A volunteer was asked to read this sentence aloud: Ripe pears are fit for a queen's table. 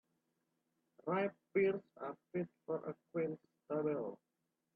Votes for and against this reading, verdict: 0, 2, rejected